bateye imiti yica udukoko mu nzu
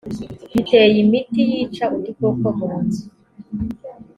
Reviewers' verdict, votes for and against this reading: accepted, 2, 0